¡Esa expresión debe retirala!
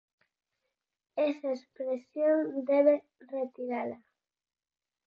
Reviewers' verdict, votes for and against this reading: accepted, 4, 0